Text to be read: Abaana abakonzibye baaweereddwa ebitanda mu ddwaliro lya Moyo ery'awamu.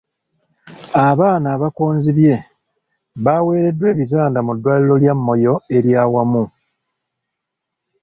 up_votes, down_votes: 1, 2